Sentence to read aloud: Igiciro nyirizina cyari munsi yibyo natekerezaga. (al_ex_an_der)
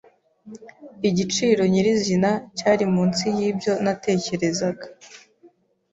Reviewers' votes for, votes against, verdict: 1, 2, rejected